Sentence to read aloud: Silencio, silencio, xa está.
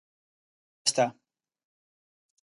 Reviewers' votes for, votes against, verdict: 0, 2, rejected